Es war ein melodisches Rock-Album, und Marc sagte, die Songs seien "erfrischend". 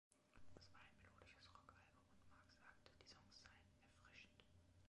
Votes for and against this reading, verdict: 1, 2, rejected